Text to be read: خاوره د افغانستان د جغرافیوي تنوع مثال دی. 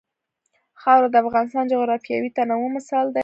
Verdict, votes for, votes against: rejected, 1, 2